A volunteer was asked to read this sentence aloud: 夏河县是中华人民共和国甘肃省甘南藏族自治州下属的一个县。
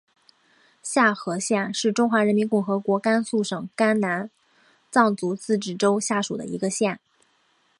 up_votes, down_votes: 3, 4